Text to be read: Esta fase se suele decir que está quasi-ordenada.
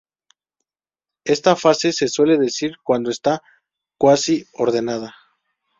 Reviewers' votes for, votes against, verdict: 2, 0, accepted